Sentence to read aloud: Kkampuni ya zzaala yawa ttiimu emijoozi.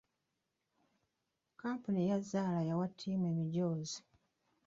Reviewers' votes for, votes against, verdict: 0, 2, rejected